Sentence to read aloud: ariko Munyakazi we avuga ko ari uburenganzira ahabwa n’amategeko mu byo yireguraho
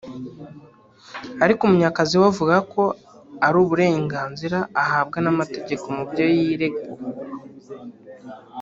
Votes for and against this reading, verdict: 2, 3, rejected